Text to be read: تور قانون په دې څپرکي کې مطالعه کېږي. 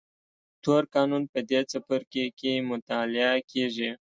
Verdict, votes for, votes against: accepted, 2, 0